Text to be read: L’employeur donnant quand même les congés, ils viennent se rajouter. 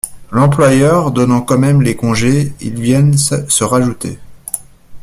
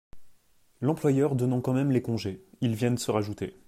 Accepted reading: second